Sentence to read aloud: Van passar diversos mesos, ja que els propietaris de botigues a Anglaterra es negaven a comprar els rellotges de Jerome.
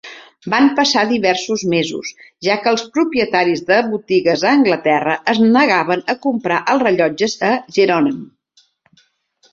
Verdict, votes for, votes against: rejected, 2, 3